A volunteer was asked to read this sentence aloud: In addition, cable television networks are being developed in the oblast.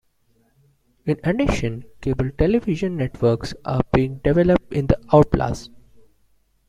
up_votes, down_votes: 1, 2